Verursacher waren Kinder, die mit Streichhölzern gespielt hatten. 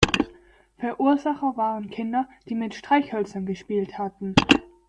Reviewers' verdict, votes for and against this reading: accepted, 2, 1